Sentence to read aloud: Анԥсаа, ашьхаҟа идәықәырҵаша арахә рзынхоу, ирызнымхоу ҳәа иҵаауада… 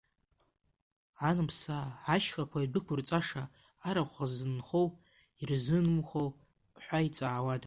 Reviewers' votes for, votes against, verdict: 1, 3, rejected